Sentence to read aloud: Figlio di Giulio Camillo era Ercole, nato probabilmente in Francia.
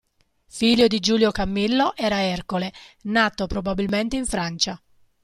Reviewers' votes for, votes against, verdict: 2, 0, accepted